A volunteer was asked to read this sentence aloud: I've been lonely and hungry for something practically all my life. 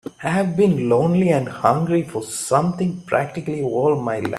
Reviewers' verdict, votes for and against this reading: accepted, 3, 2